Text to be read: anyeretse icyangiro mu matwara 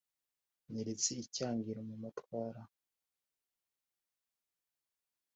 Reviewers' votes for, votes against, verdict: 2, 0, accepted